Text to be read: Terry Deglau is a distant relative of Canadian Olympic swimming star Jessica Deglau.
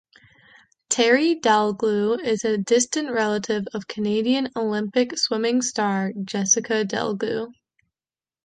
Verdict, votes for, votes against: rejected, 0, 2